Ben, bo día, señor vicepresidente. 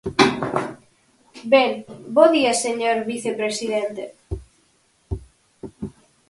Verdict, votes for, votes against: accepted, 4, 0